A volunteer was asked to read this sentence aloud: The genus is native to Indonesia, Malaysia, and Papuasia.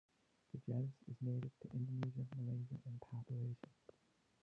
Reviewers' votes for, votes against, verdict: 1, 3, rejected